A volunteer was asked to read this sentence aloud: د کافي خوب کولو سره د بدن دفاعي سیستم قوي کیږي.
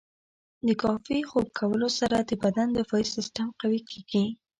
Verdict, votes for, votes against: rejected, 1, 2